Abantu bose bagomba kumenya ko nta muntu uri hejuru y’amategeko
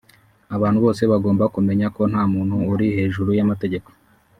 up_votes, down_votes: 3, 0